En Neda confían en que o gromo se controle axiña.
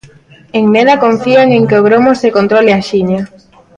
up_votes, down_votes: 2, 0